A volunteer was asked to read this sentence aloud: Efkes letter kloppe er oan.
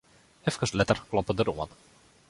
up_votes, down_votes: 1, 2